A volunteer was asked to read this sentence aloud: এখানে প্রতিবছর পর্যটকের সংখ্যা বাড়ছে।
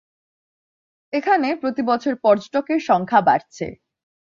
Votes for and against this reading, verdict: 3, 1, accepted